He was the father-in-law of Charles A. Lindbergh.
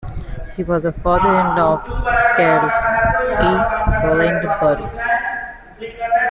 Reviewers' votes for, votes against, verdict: 0, 2, rejected